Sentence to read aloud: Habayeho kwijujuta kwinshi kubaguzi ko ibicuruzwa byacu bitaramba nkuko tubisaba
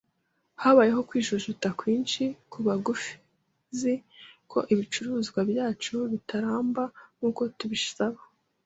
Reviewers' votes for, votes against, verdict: 1, 3, rejected